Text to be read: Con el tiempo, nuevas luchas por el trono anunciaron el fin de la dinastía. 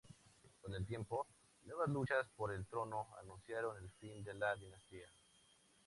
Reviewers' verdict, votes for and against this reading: accepted, 2, 0